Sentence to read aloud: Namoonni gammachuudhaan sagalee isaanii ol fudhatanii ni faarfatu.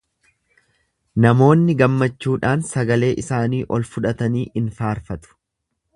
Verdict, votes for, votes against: rejected, 1, 2